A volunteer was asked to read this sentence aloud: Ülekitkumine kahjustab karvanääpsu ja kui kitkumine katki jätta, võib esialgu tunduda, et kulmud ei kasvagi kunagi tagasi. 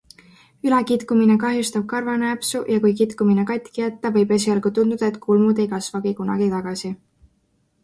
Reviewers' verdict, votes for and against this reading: accepted, 2, 0